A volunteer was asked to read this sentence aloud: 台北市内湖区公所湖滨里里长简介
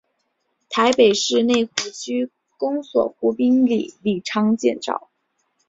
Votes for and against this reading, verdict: 6, 3, accepted